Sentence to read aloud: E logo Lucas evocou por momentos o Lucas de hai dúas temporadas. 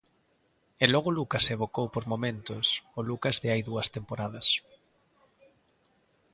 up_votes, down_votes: 3, 0